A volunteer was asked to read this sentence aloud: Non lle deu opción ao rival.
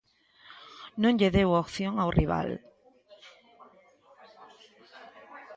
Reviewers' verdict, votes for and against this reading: rejected, 0, 2